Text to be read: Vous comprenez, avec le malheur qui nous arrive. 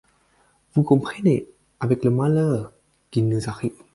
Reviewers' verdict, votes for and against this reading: accepted, 4, 0